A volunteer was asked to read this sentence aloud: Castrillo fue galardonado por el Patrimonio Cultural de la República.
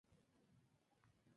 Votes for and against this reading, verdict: 0, 2, rejected